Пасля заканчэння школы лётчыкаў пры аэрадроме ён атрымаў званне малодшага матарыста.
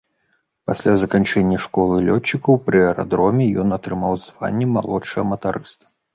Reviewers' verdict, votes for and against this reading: rejected, 1, 2